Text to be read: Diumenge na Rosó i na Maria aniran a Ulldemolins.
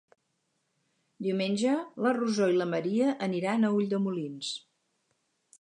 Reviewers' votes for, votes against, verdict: 2, 4, rejected